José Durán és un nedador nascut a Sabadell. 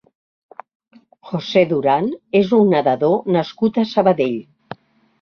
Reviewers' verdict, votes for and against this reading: accepted, 3, 0